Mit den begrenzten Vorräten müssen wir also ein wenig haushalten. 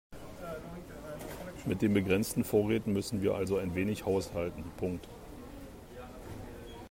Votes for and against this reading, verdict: 2, 0, accepted